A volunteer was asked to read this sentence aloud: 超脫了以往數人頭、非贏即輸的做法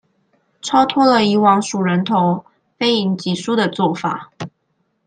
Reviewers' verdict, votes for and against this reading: accepted, 2, 0